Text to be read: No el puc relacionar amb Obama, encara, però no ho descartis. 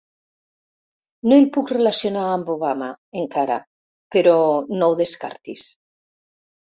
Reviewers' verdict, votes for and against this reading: rejected, 1, 2